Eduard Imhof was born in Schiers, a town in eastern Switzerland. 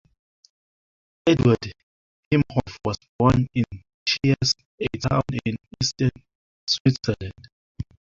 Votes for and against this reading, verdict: 2, 3, rejected